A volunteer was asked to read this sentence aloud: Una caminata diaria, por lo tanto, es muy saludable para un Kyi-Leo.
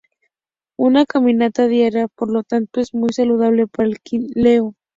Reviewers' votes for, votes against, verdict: 0, 2, rejected